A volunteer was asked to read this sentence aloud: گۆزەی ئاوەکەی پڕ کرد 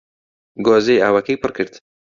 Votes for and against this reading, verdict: 2, 0, accepted